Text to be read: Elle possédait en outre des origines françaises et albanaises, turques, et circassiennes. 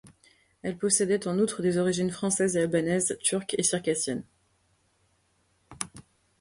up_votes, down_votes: 2, 0